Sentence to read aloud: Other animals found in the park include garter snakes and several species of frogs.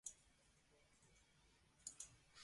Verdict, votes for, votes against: rejected, 0, 2